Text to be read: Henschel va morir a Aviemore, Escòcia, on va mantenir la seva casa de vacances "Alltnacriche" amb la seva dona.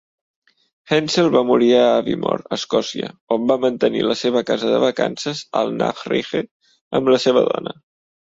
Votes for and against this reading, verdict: 2, 0, accepted